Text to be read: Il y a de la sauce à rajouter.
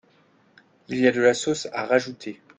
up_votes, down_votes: 2, 1